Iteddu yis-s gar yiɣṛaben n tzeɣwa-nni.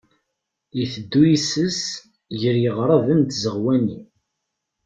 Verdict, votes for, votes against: rejected, 0, 2